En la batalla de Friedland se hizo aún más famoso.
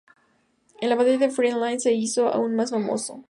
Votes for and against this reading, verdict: 2, 0, accepted